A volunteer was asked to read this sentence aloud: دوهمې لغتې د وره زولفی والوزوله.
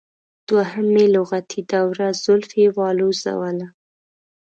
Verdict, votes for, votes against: accepted, 2, 0